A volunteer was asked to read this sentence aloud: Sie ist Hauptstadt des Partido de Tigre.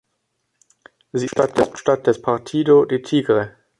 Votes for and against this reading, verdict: 0, 2, rejected